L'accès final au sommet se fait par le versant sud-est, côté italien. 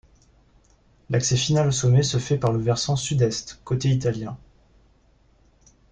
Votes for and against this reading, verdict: 2, 0, accepted